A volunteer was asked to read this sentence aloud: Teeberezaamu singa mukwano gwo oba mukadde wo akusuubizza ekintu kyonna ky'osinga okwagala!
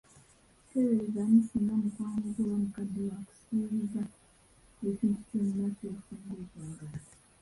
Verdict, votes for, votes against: rejected, 0, 2